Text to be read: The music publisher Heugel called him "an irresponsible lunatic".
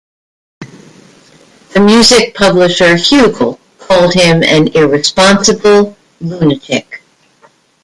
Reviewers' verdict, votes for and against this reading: rejected, 0, 2